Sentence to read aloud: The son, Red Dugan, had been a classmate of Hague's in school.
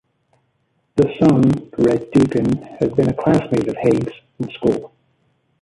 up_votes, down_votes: 2, 0